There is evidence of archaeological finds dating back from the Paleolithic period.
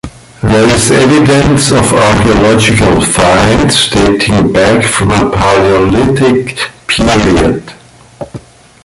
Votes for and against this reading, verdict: 0, 2, rejected